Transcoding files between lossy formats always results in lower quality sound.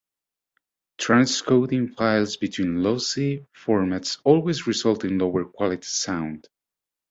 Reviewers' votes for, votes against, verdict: 1, 2, rejected